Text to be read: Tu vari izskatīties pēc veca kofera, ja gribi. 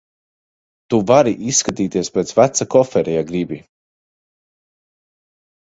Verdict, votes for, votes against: accepted, 2, 0